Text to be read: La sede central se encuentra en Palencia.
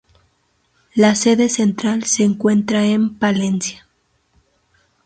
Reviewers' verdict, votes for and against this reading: rejected, 0, 2